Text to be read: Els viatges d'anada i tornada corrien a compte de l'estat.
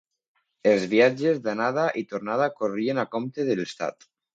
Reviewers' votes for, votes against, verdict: 2, 0, accepted